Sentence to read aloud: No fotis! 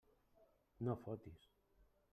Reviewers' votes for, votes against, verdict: 3, 0, accepted